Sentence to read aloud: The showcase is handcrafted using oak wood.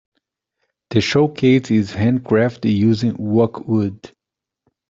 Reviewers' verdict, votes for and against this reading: rejected, 1, 2